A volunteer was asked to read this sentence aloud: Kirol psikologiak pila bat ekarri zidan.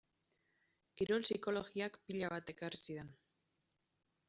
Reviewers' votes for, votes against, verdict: 2, 1, accepted